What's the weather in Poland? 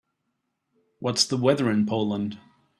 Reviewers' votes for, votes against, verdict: 2, 0, accepted